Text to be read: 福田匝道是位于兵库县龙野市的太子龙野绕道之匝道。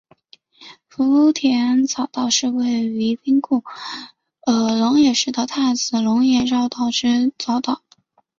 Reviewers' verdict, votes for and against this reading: rejected, 0, 3